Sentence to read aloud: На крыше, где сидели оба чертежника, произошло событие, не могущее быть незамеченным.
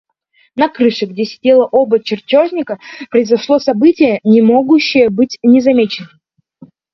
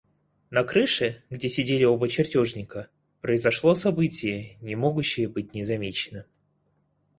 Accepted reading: second